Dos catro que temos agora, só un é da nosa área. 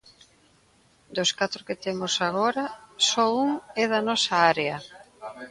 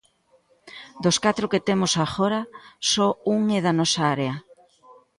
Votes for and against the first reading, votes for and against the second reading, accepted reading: 0, 2, 2, 1, second